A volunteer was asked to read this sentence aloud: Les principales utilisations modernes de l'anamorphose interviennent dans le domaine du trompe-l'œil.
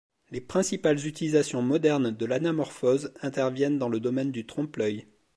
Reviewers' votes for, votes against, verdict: 2, 0, accepted